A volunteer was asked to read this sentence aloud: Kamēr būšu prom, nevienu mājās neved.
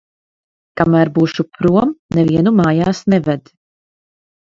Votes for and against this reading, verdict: 0, 2, rejected